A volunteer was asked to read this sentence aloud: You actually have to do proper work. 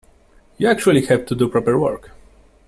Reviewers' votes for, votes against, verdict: 2, 0, accepted